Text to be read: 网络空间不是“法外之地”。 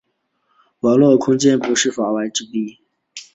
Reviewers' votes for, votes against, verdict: 2, 0, accepted